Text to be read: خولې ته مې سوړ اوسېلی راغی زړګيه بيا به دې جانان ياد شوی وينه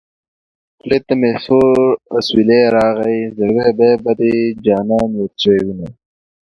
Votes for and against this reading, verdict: 2, 0, accepted